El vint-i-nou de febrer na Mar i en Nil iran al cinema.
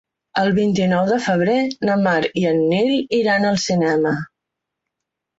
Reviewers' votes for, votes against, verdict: 3, 0, accepted